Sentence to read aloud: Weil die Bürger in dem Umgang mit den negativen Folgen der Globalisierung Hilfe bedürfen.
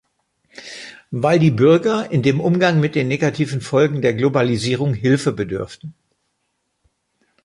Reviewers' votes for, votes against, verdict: 2, 0, accepted